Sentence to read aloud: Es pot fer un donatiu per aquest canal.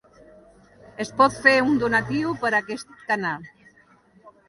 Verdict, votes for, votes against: rejected, 1, 2